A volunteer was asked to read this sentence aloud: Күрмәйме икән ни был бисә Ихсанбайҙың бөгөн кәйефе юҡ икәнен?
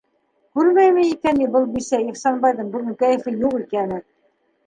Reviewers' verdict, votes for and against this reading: rejected, 1, 2